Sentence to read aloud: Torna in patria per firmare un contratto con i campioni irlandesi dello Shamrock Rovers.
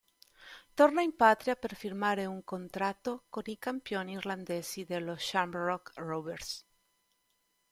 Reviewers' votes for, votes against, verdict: 2, 0, accepted